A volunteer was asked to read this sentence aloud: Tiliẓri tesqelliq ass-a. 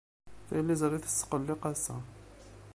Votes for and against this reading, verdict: 1, 2, rejected